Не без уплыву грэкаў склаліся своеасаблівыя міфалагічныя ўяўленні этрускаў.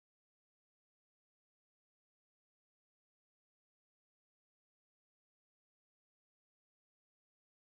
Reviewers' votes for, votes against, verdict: 0, 2, rejected